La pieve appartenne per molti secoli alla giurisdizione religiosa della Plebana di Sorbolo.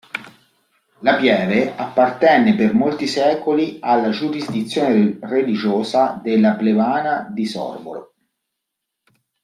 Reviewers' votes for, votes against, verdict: 1, 2, rejected